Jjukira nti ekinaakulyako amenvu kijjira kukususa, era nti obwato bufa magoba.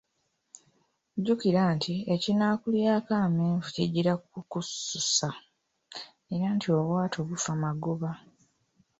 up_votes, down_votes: 0, 2